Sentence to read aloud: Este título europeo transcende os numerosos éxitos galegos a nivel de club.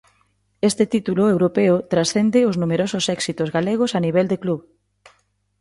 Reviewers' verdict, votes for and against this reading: accepted, 2, 0